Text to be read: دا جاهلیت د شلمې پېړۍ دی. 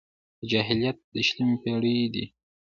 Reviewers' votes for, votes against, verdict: 2, 0, accepted